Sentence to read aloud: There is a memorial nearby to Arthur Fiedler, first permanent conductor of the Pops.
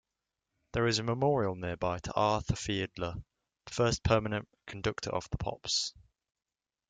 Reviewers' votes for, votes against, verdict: 2, 0, accepted